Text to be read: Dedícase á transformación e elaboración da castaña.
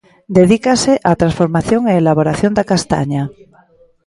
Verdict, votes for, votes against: rejected, 0, 2